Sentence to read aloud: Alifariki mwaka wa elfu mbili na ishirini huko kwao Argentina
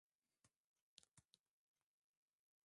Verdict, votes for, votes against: rejected, 0, 2